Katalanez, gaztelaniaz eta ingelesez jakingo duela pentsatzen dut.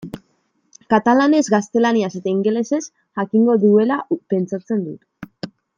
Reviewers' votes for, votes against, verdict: 2, 0, accepted